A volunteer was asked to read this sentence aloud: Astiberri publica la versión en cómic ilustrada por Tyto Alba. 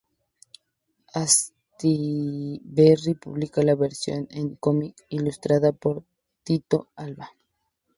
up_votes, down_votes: 0, 2